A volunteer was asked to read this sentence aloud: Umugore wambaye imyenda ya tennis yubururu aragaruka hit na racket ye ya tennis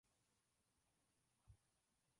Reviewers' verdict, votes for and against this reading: rejected, 0, 2